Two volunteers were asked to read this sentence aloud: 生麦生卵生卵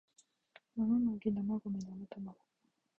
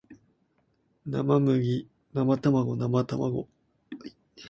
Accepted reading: second